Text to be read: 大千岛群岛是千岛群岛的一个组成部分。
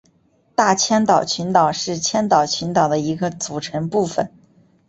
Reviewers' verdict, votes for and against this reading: accepted, 6, 1